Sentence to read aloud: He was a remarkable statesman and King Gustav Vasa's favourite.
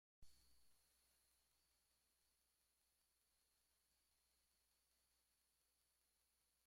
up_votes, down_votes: 1, 2